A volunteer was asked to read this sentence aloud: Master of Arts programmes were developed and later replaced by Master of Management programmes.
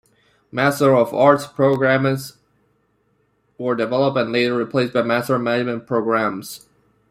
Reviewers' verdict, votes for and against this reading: rejected, 0, 2